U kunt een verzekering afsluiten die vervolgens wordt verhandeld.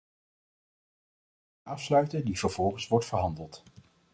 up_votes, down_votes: 0, 2